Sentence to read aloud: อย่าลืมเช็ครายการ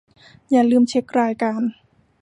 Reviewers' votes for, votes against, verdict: 2, 0, accepted